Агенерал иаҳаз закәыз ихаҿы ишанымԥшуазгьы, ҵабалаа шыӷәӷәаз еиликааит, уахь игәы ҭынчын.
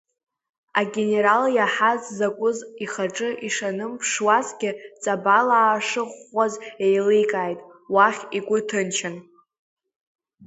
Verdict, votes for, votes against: accepted, 2, 1